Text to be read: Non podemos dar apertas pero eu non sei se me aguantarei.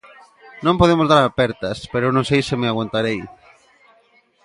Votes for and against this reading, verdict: 2, 0, accepted